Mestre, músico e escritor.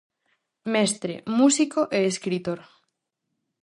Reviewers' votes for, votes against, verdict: 4, 0, accepted